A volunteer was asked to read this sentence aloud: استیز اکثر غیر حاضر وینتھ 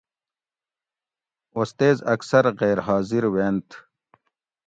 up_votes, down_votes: 2, 0